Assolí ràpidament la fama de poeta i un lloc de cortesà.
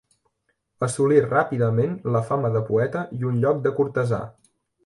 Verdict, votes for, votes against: accepted, 2, 0